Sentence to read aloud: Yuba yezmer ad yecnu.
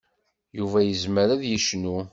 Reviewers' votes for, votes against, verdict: 2, 0, accepted